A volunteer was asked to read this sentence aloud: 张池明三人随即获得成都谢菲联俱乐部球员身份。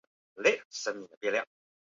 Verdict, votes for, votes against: rejected, 1, 2